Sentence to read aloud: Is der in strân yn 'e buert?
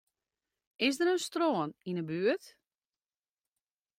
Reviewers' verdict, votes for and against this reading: accepted, 2, 0